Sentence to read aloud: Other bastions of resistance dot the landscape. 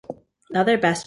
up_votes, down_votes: 0, 2